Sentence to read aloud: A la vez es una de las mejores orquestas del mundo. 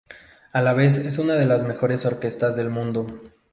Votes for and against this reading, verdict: 2, 0, accepted